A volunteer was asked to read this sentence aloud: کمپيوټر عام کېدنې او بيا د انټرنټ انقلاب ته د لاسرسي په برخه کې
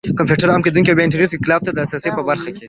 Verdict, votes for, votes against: accepted, 3, 0